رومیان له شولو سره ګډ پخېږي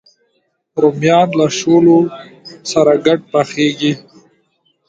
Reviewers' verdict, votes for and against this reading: rejected, 0, 2